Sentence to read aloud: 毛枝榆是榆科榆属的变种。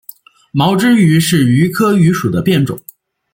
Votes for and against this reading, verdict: 2, 0, accepted